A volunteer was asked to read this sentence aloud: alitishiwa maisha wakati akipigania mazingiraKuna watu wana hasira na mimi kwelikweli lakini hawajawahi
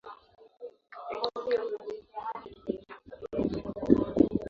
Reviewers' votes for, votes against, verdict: 0, 2, rejected